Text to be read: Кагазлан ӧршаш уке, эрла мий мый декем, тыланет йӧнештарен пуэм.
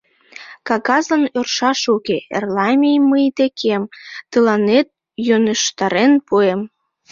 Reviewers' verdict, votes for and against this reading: accepted, 2, 1